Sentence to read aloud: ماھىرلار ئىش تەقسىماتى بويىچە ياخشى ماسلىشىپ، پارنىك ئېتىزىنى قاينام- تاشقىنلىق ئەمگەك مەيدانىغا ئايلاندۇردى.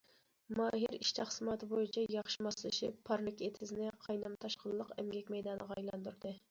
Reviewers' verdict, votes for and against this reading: rejected, 1, 2